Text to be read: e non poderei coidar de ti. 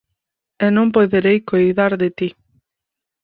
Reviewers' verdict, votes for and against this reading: rejected, 0, 4